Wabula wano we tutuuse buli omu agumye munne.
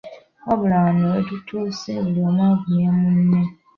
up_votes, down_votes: 2, 0